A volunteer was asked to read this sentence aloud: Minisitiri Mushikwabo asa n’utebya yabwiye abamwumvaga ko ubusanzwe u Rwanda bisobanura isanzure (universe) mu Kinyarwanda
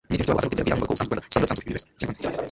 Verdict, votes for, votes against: rejected, 1, 2